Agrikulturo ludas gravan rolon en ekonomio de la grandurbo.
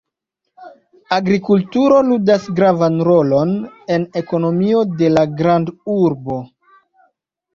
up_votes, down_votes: 1, 2